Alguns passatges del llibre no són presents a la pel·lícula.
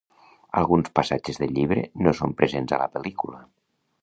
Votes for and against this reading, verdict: 2, 0, accepted